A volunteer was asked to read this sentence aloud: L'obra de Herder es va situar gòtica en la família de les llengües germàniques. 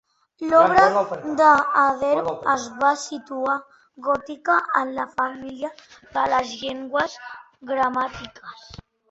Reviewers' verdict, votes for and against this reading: rejected, 0, 2